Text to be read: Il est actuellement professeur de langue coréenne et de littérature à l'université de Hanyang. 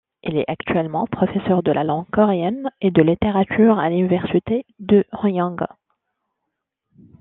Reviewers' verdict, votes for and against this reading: rejected, 1, 2